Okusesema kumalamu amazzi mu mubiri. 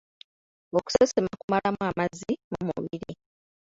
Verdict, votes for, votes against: rejected, 1, 2